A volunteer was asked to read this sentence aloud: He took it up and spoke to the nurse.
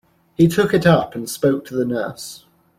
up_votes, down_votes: 2, 0